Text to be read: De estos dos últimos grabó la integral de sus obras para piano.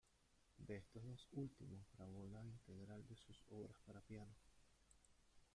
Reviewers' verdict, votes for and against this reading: rejected, 0, 2